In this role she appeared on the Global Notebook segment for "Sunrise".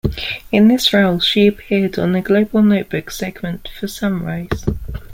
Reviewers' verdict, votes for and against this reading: accepted, 2, 1